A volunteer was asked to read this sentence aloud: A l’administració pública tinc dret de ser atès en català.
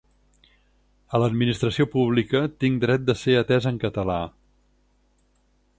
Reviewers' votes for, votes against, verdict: 4, 0, accepted